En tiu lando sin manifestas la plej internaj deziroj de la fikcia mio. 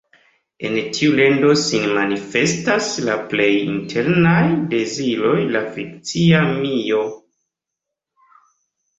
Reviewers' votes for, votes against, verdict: 2, 0, accepted